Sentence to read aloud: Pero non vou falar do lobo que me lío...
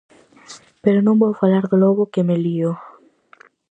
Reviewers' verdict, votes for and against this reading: accepted, 4, 0